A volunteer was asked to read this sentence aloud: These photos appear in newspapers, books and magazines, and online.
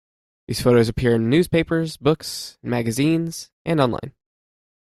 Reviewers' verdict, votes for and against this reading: rejected, 1, 2